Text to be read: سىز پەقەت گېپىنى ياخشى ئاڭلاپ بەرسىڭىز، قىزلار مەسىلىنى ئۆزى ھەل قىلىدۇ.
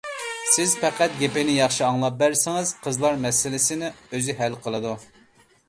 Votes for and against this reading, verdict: 0, 2, rejected